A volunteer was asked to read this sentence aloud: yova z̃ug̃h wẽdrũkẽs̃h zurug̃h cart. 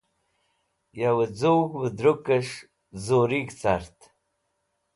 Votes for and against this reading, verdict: 2, 0, accepted